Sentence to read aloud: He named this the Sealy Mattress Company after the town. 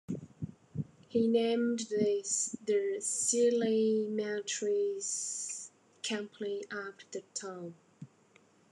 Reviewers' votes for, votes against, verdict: 1, 2, rejected